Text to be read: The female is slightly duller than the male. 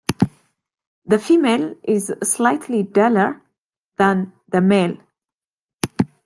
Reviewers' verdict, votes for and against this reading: accepted, 2, 0